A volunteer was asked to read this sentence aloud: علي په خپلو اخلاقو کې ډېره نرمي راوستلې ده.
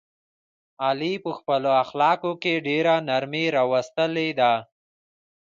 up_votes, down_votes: 0, 2